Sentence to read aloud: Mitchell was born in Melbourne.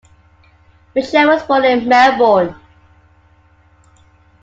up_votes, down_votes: 2, 0